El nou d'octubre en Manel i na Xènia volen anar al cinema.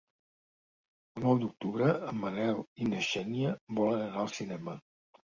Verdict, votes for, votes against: accepted, 2, 1